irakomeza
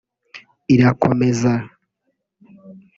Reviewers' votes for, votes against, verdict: 2, 0, accepted